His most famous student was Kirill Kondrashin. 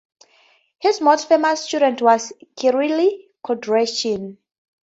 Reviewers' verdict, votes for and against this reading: rejected, 0, 4